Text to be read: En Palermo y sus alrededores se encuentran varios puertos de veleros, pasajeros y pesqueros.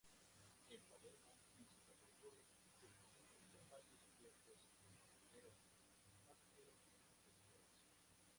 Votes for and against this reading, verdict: 0, 2, rejected